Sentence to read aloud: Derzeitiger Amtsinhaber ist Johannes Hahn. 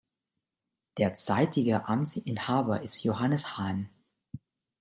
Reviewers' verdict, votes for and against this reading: rejected, 1, 2